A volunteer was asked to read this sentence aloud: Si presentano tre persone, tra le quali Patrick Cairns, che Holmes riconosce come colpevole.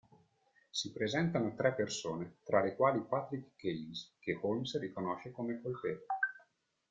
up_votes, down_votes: 2, 1